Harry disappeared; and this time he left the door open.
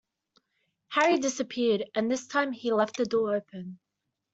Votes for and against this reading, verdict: 2, 0, accepted